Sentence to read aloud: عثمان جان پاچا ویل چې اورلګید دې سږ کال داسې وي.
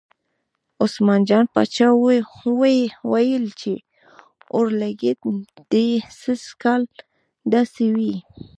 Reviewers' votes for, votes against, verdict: 0, 2, rejected